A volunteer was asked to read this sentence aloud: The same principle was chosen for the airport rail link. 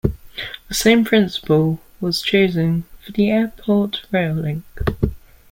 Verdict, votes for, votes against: accepted, 2, 0